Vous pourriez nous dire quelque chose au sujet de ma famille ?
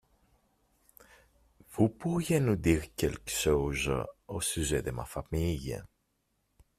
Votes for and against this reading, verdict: 0, 2, rejected